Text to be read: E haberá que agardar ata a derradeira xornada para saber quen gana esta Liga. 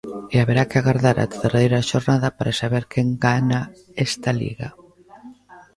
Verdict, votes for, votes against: accepted, 2, 0